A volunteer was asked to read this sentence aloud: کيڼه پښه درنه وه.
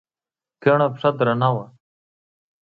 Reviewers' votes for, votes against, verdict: 1, 2, rejected